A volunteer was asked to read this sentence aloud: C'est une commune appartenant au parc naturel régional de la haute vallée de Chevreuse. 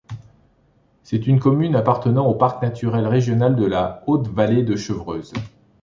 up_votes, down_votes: 2, 0